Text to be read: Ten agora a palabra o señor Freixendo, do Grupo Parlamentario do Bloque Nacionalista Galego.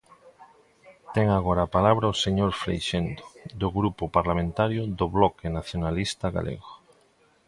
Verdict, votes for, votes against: accepted, 2, 0